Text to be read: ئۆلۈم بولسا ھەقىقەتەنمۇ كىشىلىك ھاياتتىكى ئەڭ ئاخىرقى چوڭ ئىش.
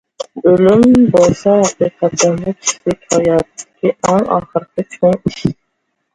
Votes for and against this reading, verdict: 0, 2, rejected